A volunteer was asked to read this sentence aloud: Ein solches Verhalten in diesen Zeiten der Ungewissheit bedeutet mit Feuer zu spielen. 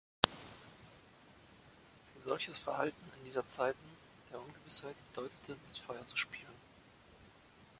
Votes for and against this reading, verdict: 0, 2, rejected